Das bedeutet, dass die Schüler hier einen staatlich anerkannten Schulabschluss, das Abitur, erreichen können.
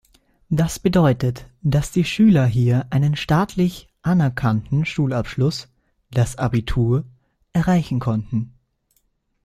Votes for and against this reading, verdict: 0, 2, rejected